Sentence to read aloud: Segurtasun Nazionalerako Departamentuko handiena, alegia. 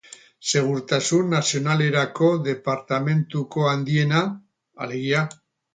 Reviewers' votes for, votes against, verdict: 0, 2, rejected